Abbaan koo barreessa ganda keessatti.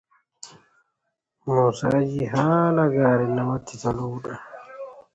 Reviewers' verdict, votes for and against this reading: rejected, 0, 2